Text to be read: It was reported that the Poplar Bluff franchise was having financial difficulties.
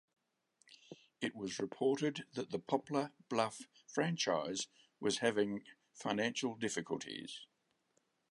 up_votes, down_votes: 3, 0